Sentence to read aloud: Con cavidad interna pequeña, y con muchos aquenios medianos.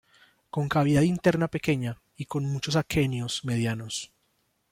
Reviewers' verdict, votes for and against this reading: accepted, 3, 1